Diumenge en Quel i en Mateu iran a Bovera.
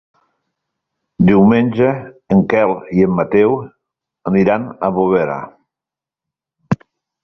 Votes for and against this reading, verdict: 1, 2, rejected